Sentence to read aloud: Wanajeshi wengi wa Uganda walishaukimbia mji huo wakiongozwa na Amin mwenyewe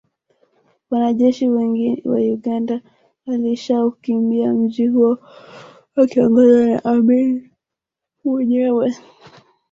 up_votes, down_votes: 1, 2